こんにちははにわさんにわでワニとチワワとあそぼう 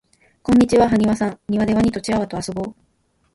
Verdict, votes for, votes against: accepted, 2, 0